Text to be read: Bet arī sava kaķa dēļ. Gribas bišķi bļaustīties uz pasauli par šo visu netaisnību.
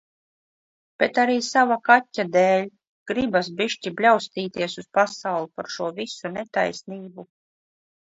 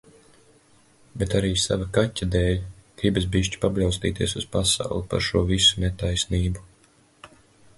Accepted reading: first